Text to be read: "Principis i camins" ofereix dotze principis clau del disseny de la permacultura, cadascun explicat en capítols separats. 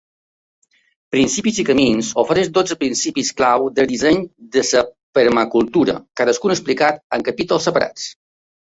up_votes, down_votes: 0, 2